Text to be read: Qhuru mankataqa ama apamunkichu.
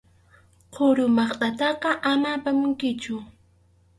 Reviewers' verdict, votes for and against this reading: rejected, 2, 2